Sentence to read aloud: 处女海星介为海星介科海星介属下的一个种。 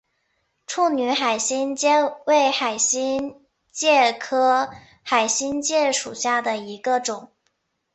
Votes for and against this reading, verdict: 2, 0, accepted